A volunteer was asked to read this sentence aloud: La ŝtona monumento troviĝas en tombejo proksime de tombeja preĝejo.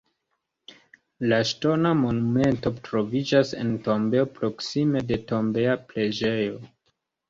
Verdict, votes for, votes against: accepted, 2, 1